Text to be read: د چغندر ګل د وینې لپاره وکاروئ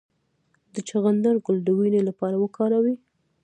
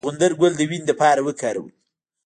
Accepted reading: first